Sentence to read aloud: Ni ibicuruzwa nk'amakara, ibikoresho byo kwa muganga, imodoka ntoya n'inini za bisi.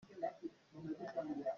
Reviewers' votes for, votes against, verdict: 0, 2, rejected